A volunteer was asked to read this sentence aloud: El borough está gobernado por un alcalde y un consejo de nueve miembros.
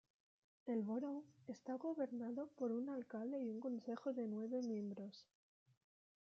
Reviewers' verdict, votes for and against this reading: accepted, 2, 0